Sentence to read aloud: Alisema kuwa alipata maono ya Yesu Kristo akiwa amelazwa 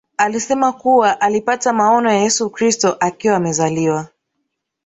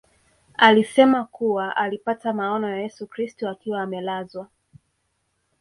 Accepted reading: second